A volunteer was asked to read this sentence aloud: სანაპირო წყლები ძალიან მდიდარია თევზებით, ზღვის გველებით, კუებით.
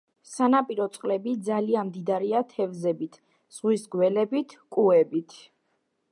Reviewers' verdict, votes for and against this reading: accepted, 2, 0